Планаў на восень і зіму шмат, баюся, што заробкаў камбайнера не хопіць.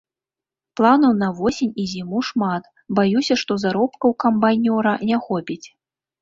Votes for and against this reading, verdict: 1, 2, rejected